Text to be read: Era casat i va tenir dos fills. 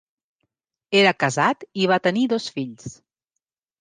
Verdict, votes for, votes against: accepted, 3, 0